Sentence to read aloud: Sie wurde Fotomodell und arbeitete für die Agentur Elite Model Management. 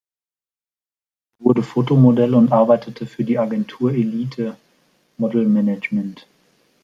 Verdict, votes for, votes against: rejected, 1, 2